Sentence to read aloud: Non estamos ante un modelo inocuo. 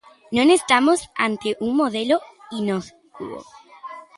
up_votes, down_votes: 0, 2